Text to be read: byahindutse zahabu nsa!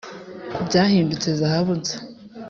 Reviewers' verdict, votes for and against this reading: accepted, 3, 1